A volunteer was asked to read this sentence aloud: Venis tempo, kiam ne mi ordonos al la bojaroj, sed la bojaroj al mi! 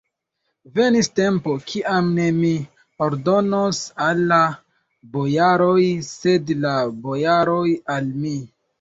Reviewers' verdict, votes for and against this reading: rejected, 0, 2